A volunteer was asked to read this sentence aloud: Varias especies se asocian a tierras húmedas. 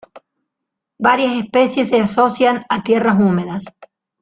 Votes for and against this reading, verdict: 2, 0, accepted